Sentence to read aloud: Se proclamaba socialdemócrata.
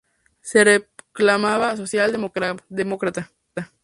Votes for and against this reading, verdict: 0, 2, rejected